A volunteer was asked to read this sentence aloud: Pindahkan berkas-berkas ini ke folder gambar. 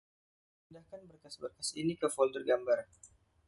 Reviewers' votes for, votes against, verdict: 0, 2, rejected